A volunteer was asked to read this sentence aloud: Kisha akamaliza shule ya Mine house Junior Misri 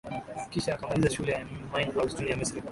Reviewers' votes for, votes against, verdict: 0, 2, rejected